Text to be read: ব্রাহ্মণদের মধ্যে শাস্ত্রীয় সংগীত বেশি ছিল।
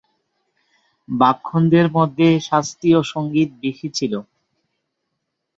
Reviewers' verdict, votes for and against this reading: rejected, 0, 2